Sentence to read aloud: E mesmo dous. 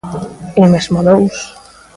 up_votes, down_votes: 1, 2